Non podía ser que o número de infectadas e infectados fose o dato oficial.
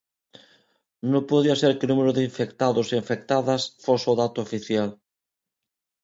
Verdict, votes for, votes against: rejected, 0, 2